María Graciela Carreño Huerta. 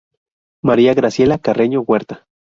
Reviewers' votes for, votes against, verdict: 2, 0, accepted